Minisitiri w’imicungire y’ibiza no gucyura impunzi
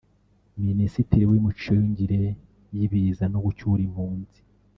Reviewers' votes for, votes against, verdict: 0, 2, rejected